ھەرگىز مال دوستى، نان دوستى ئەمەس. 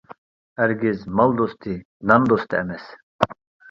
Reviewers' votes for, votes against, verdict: 2, 0, accepted